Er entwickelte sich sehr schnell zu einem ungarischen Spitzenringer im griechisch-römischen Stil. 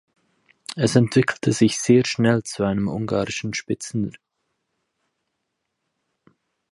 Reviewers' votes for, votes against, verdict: 0, 4, rejected